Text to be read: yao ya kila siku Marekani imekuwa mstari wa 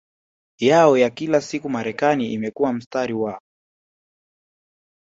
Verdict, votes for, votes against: accepted, 2, 0